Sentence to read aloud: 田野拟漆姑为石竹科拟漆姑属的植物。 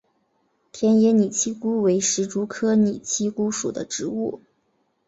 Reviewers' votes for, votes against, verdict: 2, 0, accepted